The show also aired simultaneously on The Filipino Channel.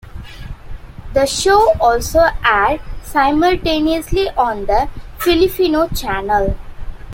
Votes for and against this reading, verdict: 1, 2, rejected